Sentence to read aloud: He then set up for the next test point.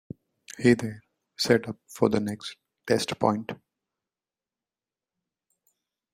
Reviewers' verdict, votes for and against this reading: accepted, 2, 0